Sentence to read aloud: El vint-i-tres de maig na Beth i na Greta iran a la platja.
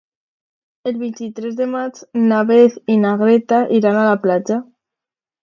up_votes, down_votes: 2, 0